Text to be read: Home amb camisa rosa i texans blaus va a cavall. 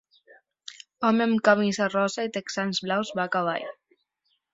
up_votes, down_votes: 2, 0